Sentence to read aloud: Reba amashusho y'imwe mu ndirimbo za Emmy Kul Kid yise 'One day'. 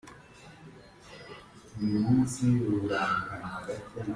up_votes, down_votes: 0, 2